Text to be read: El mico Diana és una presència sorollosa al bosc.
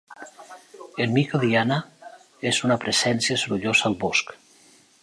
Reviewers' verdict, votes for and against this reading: accepted, 2, 0